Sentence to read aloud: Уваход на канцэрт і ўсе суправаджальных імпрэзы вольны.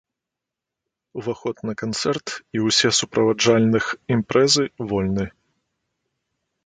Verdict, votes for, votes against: accepted, 2, 0